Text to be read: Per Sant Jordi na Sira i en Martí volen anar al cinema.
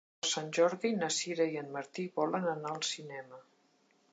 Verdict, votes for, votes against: rejected, 1, 2